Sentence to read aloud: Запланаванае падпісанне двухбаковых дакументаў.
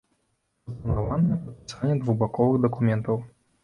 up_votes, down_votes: 0, 2